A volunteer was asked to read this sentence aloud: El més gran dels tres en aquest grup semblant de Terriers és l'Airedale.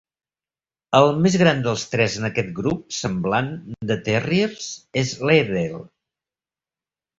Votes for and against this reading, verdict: 1, 2, rejected